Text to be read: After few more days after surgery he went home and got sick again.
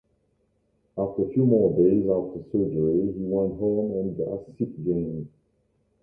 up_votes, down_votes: 1, 2